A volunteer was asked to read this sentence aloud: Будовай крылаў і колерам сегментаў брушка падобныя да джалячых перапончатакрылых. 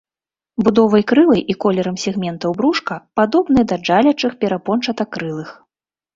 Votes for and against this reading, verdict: 0, 2, rejected